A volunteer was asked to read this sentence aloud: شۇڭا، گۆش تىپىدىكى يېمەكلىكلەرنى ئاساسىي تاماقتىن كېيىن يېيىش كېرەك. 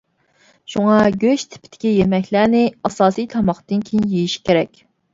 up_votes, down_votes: 0, 2